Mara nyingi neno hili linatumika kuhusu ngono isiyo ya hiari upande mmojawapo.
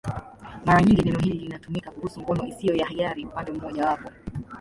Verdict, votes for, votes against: rejected, 1, 2